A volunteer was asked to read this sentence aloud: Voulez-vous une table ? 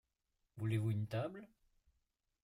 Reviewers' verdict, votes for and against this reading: accepted, 2, 1